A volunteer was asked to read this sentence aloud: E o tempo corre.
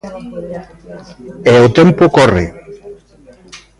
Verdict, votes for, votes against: rejected, 0, 2